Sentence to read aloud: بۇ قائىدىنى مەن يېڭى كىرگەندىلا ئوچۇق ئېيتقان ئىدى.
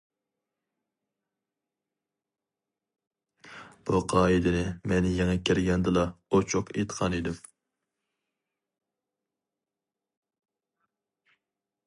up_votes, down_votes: 0, 4